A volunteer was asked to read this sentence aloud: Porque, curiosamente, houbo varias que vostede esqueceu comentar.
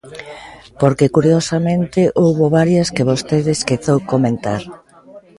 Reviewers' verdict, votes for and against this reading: accepted, 2, 0